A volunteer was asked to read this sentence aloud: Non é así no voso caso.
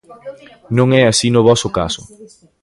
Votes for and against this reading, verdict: 2, 1, accepted